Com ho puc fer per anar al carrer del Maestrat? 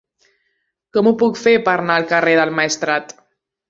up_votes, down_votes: 0, 2